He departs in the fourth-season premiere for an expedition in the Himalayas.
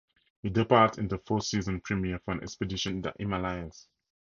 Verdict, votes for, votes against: accepted, 2, 0